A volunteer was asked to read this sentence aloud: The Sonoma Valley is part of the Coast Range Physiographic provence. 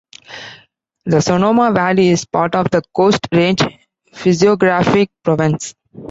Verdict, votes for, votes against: rejected, 0, 2